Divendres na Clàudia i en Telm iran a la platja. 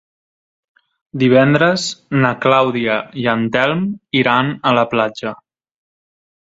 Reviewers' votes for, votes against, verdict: 3, 0, accepted